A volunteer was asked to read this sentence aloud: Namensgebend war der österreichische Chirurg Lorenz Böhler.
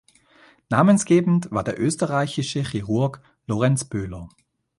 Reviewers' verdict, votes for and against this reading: rejected, 1, 2